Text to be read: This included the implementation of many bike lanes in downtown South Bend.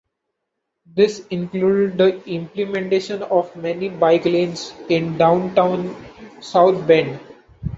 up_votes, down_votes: 1, 2